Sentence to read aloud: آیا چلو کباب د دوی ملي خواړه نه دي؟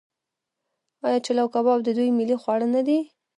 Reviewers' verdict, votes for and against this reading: rejected, 0, 2